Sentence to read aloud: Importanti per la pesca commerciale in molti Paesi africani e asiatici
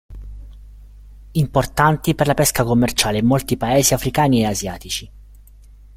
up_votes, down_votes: 1, 2